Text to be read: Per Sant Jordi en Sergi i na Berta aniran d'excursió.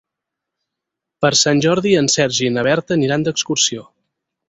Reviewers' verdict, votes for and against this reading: accepted, 6, 0